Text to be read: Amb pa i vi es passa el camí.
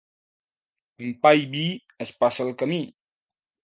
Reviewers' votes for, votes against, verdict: 0, 2, rejected